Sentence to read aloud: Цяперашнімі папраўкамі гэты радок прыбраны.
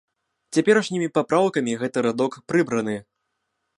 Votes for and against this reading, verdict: 2, 1, accepted